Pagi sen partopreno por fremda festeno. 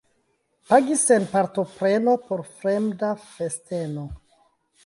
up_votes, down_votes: 2, 0